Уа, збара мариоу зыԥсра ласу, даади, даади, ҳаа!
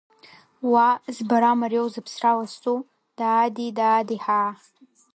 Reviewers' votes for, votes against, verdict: 0, 2, rejected